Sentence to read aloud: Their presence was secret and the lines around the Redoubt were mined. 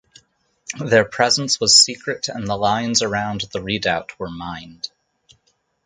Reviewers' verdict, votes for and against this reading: accepted, 4, 0